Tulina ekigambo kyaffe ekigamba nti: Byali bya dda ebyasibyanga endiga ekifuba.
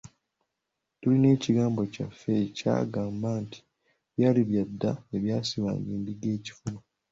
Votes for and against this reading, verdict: 0, 2, rejected